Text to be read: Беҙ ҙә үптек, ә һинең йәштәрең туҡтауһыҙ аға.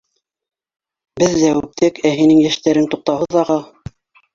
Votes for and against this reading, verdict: 1, 2, rejected